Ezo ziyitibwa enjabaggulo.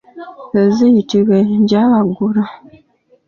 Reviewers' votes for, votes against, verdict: 0, 2, rejected